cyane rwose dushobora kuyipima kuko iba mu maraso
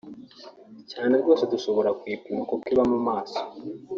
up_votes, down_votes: 0, 2